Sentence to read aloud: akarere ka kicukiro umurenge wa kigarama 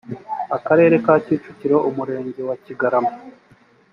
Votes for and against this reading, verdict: 2, 0, accepted